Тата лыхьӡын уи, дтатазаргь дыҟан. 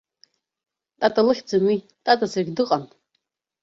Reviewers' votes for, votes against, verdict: 0, 2, rejected